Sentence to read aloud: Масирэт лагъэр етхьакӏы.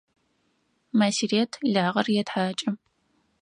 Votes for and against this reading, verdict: 0, 4, rejected